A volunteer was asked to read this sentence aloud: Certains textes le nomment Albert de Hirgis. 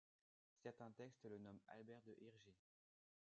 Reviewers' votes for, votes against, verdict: 1, 2, rejected